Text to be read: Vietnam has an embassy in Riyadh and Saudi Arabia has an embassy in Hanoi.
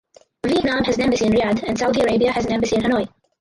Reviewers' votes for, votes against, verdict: 0, 2, rejected